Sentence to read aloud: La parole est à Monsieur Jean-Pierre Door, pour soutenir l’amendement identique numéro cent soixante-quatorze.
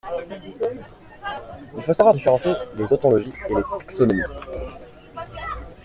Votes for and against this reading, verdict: 0, 2, rejected